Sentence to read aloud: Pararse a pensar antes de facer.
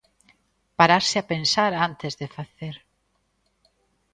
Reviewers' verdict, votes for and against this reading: accepted, 2, 0